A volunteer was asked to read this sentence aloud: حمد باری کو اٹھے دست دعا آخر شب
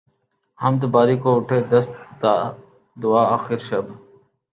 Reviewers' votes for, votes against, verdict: 4, 1, accepted